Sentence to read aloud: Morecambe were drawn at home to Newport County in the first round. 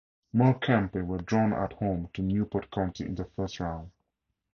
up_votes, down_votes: 4, 2